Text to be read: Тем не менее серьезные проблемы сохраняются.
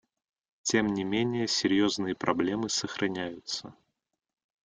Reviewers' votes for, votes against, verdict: 2, 0, accepted